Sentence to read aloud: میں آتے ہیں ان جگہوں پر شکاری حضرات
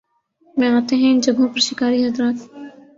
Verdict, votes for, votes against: accepted, 17, 1